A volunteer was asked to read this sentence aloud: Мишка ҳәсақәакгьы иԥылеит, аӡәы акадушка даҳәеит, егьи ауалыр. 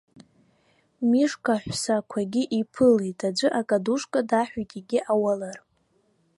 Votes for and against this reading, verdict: 0, 2, rejected